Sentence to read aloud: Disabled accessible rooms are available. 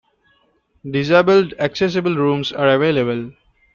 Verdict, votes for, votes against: accepted, 2, 0